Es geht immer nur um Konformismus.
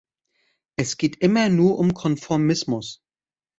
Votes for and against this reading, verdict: 2, 0, accepted